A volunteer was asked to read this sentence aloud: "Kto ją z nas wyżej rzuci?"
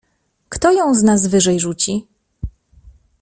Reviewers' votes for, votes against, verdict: 2, 0, accepted